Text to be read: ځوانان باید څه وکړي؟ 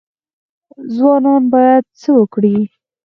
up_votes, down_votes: 4, 0